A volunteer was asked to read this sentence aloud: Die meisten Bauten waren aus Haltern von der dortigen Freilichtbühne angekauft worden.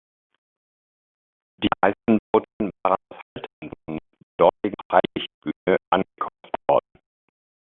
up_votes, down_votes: 0, 2